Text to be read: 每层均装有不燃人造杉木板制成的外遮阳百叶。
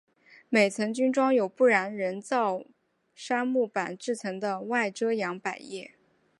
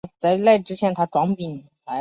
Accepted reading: first